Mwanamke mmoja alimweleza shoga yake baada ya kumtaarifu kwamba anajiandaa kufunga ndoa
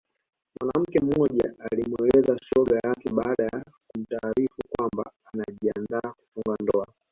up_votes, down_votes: 1, 2